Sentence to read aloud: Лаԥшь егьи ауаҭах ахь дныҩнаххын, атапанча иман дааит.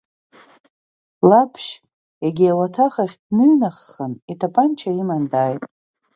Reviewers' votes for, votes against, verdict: 1, 2, rejected